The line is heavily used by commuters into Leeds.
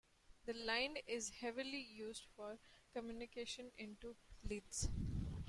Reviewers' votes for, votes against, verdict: 0, 3, rejected